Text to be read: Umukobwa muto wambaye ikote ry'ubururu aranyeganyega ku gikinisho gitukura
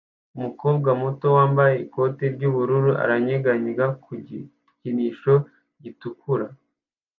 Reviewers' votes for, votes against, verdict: 3, 1, accepted